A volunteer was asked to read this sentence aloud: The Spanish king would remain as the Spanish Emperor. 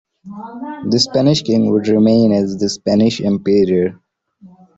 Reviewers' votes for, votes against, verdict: 1, 2, rejected